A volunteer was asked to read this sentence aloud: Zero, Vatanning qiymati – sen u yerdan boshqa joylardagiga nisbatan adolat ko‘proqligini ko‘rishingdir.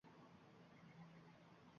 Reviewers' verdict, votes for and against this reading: rejected, 0, 2